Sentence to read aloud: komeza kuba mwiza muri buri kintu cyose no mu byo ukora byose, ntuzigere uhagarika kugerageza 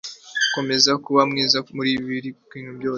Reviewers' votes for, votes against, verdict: 2, 1, accepted